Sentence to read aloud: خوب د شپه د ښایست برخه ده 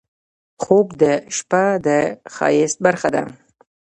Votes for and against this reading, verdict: 1, 2, rejected